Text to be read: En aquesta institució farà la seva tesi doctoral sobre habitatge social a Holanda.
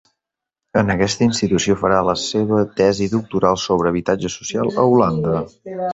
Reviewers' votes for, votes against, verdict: 3, 0, accepted